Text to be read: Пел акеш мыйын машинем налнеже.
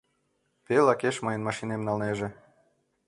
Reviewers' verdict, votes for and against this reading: accepted, 2, 0